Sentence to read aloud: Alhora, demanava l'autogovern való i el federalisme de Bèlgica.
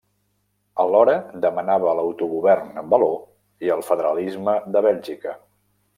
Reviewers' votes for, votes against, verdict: 1, 2, rejected